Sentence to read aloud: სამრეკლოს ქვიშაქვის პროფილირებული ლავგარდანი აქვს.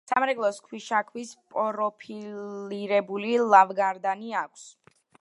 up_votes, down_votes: 2, 0